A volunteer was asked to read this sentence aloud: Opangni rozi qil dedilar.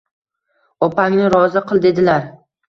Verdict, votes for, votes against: rejected, 1, 2